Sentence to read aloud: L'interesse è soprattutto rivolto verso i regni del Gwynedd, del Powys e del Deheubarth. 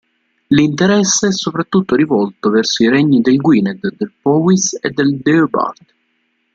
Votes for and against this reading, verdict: 2, 0, accepted